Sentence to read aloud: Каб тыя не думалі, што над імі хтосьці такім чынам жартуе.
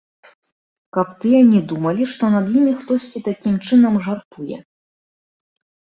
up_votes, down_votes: 0, 2